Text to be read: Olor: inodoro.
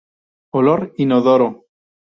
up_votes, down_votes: 2, 0